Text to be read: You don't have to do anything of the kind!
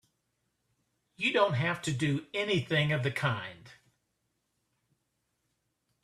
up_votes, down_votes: 3, 0